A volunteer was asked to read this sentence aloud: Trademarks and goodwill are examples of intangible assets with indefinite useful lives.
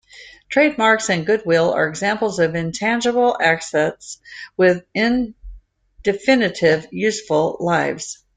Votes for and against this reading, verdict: 0, 2, rejected